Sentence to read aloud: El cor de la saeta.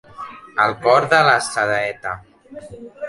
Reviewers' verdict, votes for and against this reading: accepted, 2, 1